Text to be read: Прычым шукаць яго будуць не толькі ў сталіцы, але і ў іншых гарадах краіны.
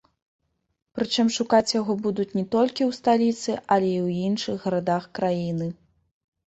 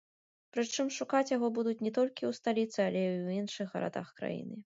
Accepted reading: first